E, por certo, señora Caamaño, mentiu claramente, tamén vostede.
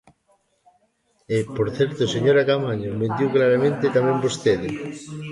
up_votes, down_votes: 1, 2